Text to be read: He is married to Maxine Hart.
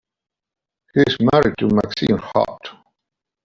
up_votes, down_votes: 0, 2